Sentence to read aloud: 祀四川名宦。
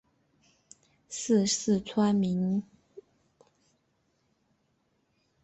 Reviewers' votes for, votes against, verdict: 0, 2, rejected